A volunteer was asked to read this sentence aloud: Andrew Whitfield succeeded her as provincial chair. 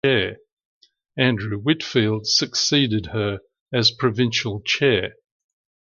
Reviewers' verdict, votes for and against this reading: rejected, 1, 2